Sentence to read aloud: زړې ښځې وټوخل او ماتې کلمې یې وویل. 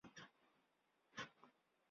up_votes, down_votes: 0, 2